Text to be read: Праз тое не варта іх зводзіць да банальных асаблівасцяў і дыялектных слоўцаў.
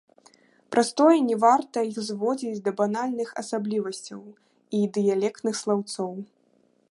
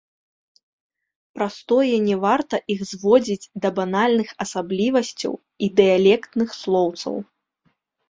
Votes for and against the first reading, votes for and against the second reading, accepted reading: 1, 2, 2, 0, second